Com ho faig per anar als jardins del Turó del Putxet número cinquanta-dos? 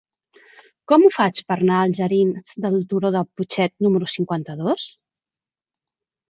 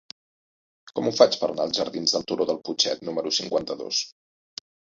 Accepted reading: second